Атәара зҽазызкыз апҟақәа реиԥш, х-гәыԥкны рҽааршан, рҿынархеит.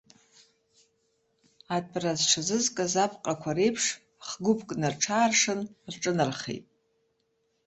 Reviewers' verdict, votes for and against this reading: accepted, 2, 0